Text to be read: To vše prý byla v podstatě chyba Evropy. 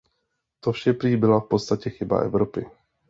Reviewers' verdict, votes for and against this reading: accepted, 2, 0